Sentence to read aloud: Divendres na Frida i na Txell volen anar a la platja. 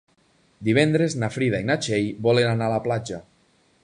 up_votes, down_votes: 3, 0